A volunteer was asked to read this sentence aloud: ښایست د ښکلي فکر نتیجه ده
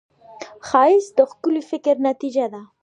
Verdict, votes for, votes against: accepted, 2, 0